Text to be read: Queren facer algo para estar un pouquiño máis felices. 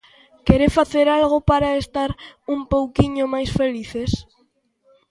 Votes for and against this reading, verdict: 2, 1, accepted